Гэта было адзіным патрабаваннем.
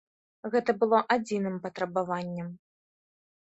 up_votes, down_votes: 2, 0